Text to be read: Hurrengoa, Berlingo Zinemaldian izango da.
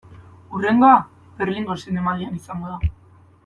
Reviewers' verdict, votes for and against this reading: accepted, 2, 0